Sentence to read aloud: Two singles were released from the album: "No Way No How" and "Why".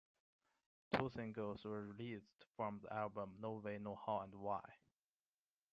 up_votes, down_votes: 2, 0